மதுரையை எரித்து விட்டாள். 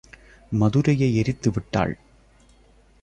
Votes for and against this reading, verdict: 2, 0, accepted